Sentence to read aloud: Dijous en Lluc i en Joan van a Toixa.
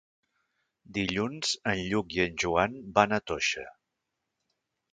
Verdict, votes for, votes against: rejected, 1, 2